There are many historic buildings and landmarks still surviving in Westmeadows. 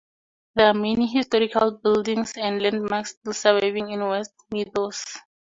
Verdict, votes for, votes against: accepted, 2, 0